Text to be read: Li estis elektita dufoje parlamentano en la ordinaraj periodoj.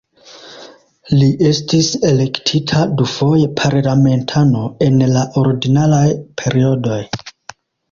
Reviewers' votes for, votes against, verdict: 2, 0, accepted